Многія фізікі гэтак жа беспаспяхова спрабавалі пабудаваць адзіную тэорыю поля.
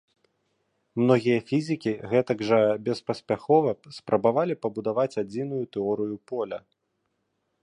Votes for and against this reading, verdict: 2, 0, accepted